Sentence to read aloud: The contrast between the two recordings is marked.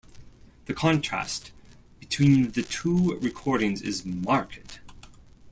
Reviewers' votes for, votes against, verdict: 2, 1, accepted